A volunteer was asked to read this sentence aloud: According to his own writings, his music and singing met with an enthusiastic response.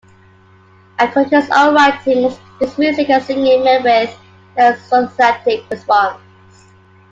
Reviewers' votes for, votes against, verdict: 2, 0, accepted